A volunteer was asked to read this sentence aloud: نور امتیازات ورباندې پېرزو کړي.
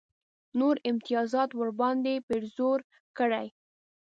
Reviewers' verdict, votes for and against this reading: rejected, 0, 2